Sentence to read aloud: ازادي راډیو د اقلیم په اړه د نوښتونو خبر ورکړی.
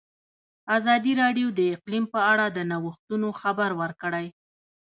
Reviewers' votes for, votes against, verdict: 0, 2, rejected